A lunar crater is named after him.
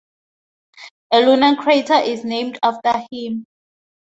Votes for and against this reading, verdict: 2, 0, accepted